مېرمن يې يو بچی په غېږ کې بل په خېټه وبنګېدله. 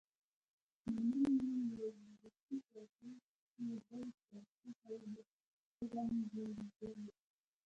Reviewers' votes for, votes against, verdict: 1, 2, rejected